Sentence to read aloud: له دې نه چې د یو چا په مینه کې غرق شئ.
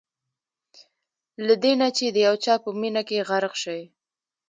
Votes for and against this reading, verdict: 1, 2, rejected